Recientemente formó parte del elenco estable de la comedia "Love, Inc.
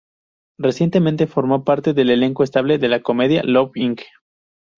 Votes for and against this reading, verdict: 2, 0, accepted